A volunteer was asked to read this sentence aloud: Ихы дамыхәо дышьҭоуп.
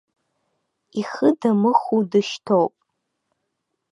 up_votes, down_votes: 2, 0